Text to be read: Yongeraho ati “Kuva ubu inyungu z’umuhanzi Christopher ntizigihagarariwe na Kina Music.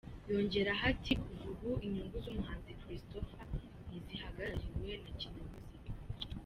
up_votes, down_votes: 2, 1